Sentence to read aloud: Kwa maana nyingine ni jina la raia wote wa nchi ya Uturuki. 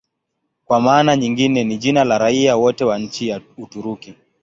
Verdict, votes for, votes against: accepted, 15, 2